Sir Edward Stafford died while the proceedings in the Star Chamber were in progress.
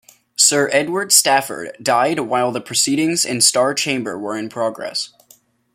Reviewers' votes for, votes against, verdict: 1, 2, rejected